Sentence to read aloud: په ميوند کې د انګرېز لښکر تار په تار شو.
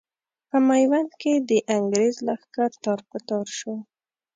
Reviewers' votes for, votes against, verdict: 2, 0, accepted